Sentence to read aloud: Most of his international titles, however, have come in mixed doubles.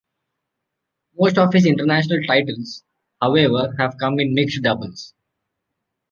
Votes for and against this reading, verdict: 2, 0, accepted